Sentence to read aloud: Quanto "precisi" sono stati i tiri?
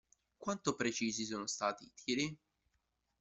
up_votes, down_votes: 1, 2